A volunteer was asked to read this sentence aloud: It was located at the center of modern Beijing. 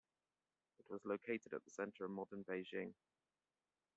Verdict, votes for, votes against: accepted, 2, 1